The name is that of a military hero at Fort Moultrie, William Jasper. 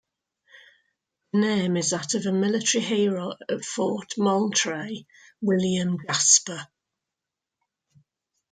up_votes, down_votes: 2, 1